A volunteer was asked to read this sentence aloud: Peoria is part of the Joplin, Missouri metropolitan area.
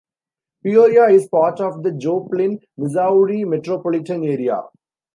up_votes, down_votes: 2, 0